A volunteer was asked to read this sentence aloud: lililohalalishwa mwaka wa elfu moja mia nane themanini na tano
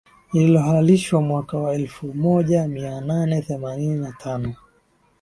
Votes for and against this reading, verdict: 2, 1, accepted